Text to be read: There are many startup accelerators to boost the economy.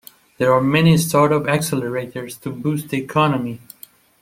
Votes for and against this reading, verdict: 2, 0, accepted